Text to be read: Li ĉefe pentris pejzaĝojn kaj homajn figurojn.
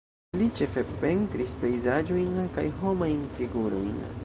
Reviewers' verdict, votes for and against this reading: rejected, 1, 2